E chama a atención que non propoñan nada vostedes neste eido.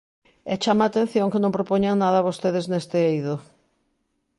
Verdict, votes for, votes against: accepted, 2, 0